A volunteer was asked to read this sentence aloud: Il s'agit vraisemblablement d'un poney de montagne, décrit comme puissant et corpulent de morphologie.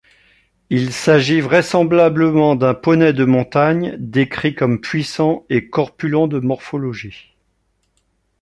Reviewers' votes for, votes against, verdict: 2, 0, accepted